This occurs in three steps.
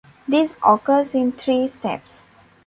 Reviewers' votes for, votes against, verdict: 2, 0, accepted